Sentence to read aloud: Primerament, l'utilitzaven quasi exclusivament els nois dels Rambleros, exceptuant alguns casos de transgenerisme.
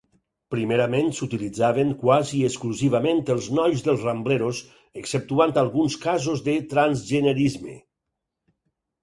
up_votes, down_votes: 0, 4